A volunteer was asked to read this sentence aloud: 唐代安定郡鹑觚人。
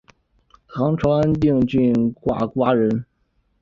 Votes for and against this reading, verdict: 0, 2, rejected